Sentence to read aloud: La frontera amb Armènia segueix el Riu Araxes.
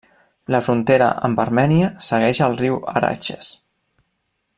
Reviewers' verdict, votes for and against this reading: rejected, 1, 2